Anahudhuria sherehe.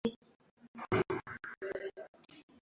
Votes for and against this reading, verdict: 0, 2, rejected